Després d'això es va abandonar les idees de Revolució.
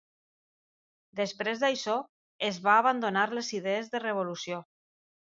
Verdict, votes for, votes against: accepted, 2, 0